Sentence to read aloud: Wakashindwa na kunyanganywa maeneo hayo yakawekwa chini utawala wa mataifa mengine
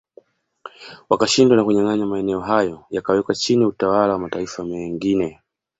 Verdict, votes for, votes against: accepted, 2, 0